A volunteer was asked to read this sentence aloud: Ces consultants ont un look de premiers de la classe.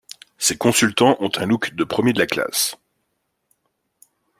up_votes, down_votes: 2, 0